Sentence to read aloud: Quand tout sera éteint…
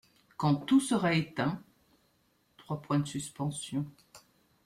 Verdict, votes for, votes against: rejected, 0, 2